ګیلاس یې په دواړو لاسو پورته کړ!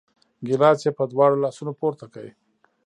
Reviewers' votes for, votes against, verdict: 2, 1, accepted